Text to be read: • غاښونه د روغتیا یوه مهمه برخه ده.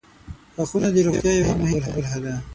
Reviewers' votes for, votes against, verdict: 3, 6, rejected